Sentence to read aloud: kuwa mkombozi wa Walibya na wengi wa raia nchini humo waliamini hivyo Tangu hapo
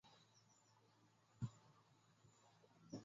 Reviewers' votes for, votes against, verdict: 0, 2, rejected